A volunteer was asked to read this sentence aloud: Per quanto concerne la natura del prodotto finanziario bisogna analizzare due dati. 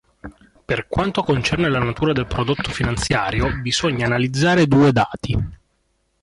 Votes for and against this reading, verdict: 2, 0, accepted